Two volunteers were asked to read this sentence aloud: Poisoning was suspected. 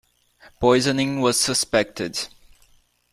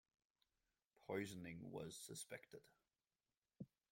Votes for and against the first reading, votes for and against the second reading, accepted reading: 2, 0, 1, 2, first